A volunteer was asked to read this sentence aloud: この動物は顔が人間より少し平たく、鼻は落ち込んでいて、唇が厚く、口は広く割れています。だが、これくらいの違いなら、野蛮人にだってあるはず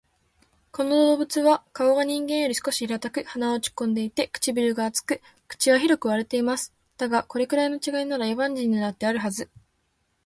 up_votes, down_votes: 2, 0